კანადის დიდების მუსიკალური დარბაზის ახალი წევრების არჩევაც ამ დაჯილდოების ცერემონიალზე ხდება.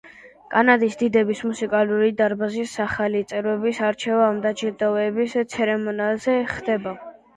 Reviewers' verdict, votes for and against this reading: rejected, 1, 2